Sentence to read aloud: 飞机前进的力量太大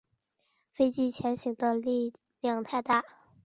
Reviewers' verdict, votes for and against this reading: rejected, 1, 2